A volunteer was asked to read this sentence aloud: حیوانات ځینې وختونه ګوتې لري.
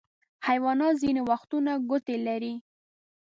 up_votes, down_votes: 2, 0